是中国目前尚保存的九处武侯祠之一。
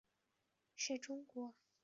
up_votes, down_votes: 1, 4